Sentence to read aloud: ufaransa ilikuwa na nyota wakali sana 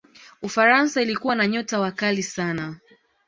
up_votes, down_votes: 2, 0